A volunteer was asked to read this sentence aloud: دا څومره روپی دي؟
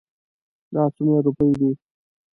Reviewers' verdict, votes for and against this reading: rejected, 0, 2